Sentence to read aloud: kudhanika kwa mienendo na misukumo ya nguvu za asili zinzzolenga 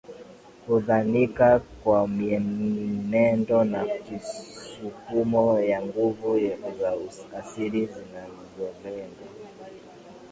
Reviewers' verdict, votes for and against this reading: rejected, 2, 2